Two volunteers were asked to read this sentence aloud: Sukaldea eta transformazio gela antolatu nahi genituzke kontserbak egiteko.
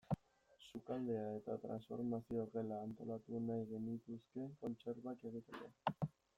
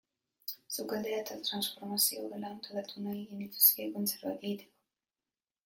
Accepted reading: first